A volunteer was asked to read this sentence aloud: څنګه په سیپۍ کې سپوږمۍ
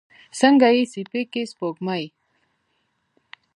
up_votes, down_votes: 2, 1